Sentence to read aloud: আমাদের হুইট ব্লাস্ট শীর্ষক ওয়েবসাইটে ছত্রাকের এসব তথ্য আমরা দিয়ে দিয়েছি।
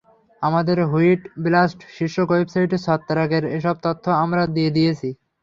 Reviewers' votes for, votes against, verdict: 3, 0, accepted